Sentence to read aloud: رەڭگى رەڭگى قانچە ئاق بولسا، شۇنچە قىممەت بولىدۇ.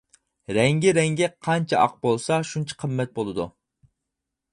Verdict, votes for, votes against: accepted, 4, 0